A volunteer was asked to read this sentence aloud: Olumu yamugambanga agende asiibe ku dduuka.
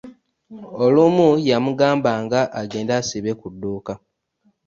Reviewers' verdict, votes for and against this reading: rejected, 1, 2